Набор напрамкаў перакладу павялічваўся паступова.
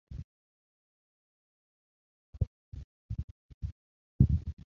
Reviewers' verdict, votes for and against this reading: rejected, 0, 2